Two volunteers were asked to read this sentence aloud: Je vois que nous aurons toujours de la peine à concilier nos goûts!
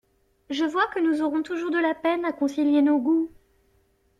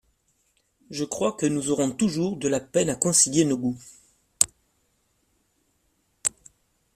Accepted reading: first